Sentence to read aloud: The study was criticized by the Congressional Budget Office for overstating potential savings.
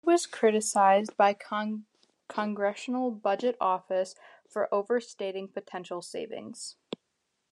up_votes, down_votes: 1, 2